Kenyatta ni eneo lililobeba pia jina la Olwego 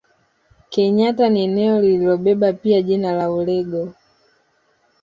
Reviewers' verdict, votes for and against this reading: accepted, 2, 1